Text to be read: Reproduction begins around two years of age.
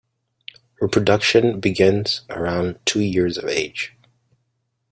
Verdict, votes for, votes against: accepted, 2, 0